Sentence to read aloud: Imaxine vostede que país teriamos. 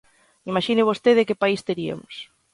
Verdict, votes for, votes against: rejected, 1, 2